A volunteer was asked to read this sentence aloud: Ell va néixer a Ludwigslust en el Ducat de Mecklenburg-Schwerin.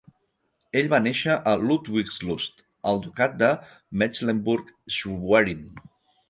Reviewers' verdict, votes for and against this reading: accepted, 4, 2